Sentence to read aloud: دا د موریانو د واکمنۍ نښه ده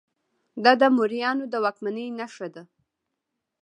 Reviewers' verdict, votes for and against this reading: rejected, 1, 2